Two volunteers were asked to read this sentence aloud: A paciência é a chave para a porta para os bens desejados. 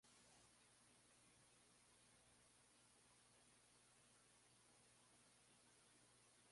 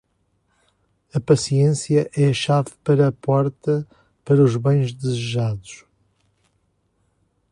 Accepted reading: second